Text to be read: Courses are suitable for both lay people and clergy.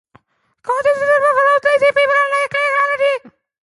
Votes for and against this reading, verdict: 0, 2, rejected